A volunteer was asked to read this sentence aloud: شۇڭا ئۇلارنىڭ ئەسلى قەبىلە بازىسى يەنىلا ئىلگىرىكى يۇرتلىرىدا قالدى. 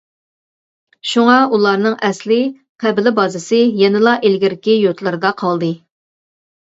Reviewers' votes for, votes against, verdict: 2, 0, accepted